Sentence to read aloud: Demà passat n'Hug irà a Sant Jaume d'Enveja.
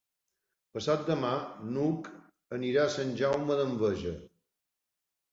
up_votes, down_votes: 0, 2